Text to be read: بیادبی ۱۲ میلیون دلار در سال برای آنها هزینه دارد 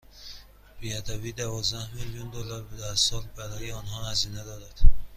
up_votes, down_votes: 0, 2